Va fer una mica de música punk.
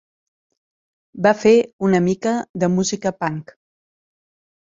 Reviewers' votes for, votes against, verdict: 3, 0, accepted